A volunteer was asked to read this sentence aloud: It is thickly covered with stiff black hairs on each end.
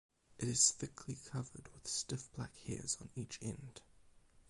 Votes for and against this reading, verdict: 4, 0, accepted